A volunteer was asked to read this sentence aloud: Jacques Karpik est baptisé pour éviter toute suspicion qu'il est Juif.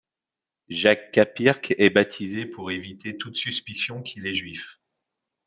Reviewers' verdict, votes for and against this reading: rejected, 1, 2